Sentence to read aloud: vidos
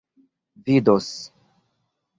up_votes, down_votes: 2, 1